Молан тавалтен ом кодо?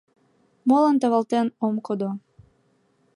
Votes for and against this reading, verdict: 2, 0, accepted